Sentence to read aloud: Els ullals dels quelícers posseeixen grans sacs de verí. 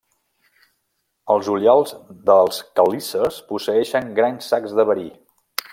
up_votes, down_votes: 2, 0